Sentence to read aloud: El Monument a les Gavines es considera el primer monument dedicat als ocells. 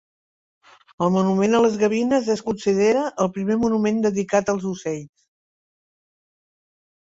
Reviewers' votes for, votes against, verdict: 3, 1, accepted